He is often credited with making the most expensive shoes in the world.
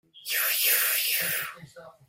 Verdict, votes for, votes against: rejected, 0, 3